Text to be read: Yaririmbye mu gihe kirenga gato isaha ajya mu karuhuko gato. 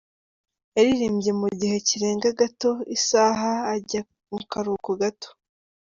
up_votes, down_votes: 2, 0